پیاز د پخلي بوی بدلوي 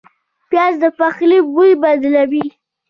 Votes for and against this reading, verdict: 2, 1, accepted